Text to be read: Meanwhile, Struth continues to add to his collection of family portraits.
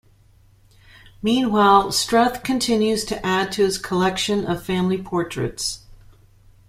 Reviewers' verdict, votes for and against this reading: accepted, 2, 1